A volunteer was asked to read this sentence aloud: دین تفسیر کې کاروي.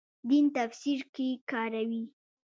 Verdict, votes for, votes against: accepted, 2, 0